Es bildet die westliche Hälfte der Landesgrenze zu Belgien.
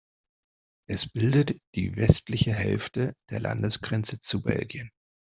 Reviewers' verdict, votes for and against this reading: accepted, 2, 0